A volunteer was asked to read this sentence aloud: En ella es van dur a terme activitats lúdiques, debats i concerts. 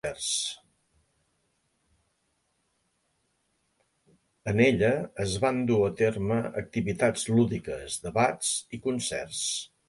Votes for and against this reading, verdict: 3, 1, accepted